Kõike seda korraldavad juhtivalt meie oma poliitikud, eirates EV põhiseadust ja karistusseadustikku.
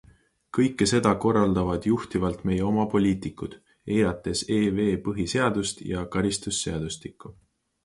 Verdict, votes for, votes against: accepted, 2, 0